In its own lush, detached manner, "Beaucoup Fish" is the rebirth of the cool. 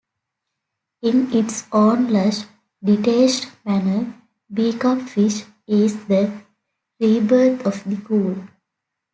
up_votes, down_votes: 1, 3